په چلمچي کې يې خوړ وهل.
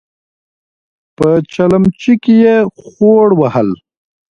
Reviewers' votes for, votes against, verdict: 3, 0, accepted